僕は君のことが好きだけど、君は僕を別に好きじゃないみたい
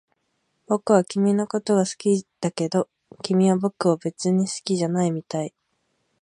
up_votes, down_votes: 4, 2